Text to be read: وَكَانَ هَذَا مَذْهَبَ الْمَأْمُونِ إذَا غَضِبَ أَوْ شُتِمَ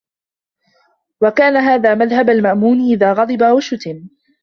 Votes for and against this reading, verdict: 0, 2, rejected